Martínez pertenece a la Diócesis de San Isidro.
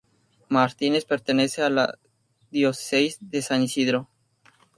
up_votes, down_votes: 0, 2